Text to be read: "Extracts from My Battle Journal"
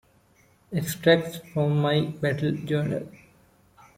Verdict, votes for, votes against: accepted, 2, 0